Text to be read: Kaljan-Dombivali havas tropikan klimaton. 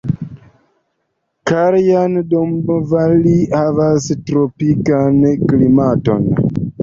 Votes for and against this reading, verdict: 1, 2, rejected